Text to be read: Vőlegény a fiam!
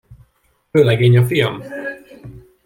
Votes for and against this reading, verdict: 2, 0, accepted